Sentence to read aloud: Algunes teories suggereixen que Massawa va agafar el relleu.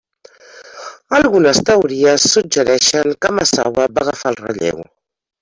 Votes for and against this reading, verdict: 1, 2, rejected